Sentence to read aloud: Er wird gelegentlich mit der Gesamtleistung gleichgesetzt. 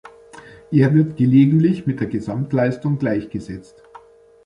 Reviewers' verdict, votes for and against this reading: accepted, 2, 0